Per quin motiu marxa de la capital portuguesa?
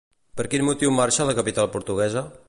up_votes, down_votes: 0, 2